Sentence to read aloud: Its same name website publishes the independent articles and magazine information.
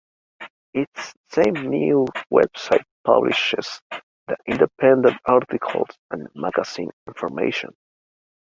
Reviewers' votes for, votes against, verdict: 2, 1, accepted